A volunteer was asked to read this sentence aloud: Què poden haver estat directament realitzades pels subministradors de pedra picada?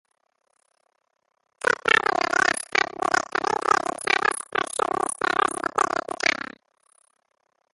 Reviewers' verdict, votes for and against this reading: rejected, 0, 2